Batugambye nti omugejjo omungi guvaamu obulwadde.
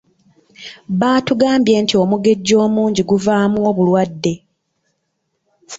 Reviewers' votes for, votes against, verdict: 2, 0, accepted